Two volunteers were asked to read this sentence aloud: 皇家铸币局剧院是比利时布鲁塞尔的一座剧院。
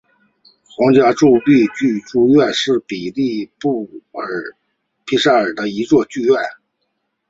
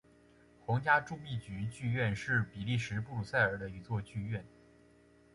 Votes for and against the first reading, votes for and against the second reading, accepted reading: 1, 2, 2, 0, second